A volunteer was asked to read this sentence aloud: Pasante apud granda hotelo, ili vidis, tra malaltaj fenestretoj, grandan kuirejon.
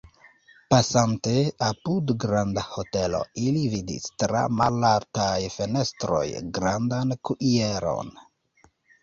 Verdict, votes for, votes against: rejected, 1, 3